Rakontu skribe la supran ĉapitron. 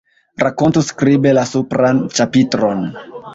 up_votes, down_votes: 1, 2